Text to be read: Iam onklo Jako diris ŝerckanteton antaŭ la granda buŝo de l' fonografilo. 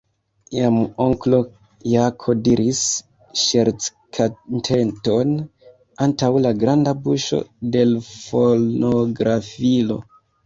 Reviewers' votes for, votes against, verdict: 0, 2, rejected